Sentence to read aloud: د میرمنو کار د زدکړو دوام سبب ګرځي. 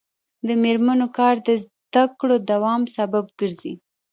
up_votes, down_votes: 0, 2